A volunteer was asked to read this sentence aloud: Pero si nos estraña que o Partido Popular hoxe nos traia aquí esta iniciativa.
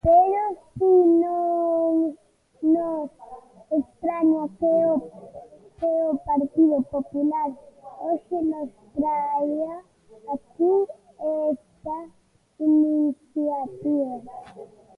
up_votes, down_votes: 0, 2